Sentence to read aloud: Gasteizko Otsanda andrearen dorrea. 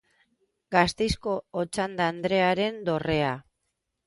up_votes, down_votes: 2, 0